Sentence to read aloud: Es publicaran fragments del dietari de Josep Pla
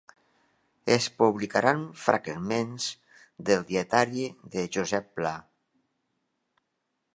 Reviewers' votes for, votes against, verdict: 2, 0, accepted